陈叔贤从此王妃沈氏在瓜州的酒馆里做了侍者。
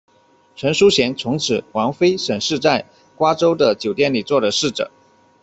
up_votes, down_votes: 1, 2